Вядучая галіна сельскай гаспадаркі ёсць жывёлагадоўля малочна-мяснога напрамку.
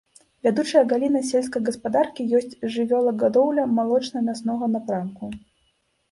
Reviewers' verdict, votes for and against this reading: rejected, 1, 2